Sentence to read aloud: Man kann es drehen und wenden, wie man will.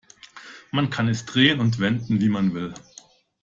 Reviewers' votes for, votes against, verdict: 2, 0, accepted